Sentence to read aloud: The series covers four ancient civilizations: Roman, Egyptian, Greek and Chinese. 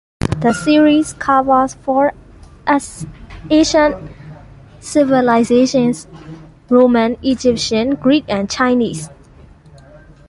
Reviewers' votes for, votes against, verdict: 1, 2, rejected